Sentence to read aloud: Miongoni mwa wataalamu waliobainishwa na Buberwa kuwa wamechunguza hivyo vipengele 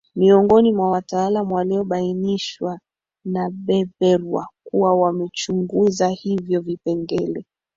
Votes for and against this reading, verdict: 0, 3, rejected